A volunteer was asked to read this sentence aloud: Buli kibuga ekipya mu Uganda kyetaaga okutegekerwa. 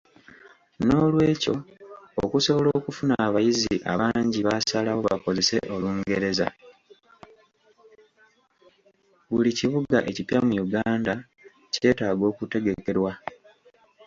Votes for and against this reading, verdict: 0, 2, rejected